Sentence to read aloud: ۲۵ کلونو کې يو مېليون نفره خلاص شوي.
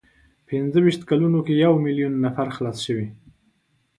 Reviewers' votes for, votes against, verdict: 0, 2, rejected